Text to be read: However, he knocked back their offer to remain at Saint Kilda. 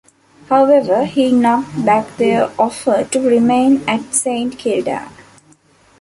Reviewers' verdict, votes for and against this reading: accepted, 2, 0